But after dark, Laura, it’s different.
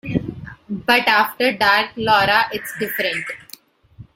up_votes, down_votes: 2, 1